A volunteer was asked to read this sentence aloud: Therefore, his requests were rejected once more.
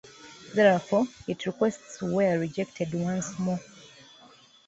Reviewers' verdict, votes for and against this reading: rejected, 1, 2